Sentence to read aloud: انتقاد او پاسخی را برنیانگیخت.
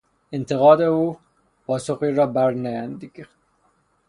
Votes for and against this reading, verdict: 0, 3, rejected